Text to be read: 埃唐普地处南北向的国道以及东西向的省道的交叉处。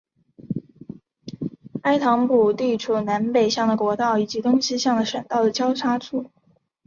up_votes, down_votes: 3, 0